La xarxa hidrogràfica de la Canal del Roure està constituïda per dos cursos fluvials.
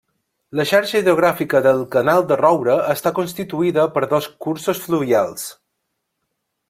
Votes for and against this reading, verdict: 0, 2, rejected